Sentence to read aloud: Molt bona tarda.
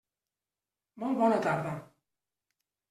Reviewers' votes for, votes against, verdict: 3, 0, accepted